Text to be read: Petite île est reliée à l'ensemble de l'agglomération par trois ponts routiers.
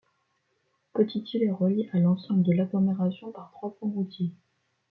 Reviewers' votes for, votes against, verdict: 1, 2, rejected